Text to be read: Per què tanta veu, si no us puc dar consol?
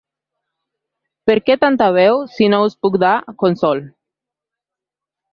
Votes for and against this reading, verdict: 1, 2, rejected